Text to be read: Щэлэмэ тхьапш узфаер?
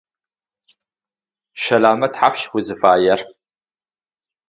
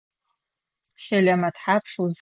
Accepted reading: first